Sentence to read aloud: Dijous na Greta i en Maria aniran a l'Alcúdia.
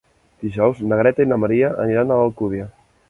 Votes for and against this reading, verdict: 2, 1, accepted